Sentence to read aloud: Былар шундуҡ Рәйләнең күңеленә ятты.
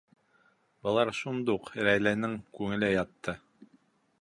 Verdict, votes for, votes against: rejected, 0, 2